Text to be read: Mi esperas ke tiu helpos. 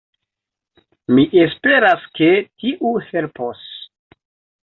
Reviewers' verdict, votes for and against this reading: accepted, 2, 1